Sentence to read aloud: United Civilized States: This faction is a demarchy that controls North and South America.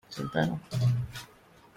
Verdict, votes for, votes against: rejected, 0, 2